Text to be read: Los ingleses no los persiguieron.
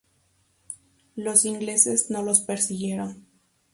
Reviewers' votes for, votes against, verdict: 0, 2, rejected